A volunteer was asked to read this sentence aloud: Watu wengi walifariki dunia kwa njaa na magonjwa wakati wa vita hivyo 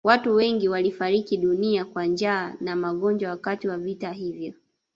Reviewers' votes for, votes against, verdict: 1, 2, rejected